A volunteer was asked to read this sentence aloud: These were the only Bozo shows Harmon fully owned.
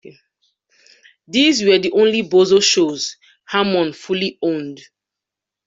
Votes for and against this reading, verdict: 2, 0, accepted